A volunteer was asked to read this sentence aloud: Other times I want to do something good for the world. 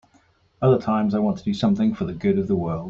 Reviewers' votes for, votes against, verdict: 1, 2, rejected